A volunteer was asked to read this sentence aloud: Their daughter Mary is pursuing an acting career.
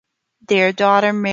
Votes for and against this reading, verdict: 0, 2, rejected